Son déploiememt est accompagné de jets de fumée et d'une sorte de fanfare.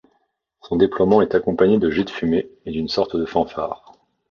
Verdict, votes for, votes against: accepted, 2, 1